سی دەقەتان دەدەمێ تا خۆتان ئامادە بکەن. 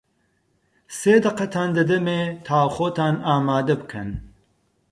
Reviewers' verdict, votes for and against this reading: rejected, 0, 4